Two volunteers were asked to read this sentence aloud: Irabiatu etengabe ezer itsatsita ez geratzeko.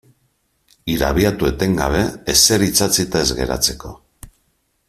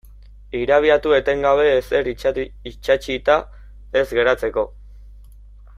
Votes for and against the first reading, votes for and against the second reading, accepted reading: 3, 0, 0, 2, first